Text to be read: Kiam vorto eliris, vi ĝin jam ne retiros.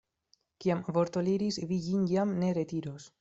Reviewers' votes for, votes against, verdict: 0, 2, rejected